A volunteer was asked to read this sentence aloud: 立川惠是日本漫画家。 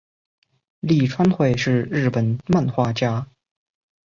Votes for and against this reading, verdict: 2, 0, accepted